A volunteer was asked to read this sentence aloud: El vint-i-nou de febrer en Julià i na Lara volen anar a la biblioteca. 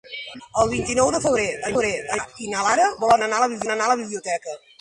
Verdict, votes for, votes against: rejected, 0, 2